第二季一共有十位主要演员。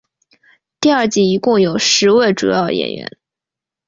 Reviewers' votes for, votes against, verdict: 2, 0, accepted